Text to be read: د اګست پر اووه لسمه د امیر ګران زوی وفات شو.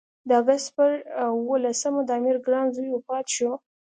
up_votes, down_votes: 2, 0